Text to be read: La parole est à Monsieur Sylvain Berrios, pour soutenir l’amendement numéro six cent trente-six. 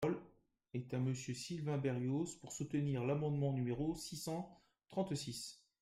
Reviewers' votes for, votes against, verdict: 1, 2, rejected